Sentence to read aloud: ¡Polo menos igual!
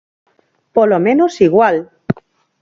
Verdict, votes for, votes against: accepted, 6, 0